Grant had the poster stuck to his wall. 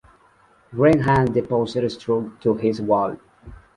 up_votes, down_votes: 2, 0